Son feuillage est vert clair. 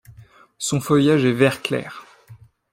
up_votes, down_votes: 2, 0